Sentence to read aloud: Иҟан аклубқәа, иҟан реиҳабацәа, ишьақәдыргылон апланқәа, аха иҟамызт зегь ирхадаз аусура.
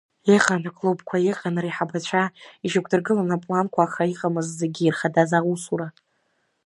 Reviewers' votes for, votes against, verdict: 1, 2, rejected